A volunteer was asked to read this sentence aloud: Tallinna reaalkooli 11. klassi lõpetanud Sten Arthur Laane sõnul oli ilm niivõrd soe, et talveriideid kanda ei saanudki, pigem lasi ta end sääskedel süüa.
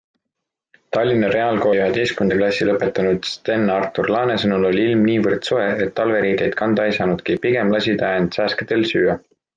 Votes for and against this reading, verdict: 0, 2, rejected